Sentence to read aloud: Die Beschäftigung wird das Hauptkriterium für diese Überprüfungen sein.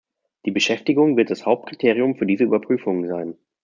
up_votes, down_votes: 2, 0